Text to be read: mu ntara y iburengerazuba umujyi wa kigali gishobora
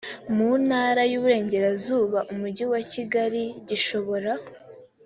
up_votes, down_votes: 2, 0